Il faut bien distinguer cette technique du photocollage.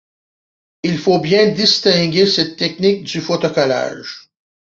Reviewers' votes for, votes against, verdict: 2, 1, accepted